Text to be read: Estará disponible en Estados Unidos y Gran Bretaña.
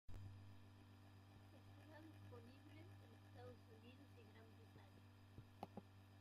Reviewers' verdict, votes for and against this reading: rejected, 0, 2